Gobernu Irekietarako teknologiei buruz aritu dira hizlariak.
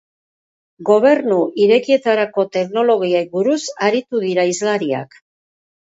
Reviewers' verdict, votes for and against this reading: accepted, 2, 0